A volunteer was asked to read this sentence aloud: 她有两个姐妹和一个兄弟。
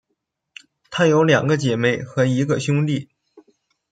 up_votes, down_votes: 1, 2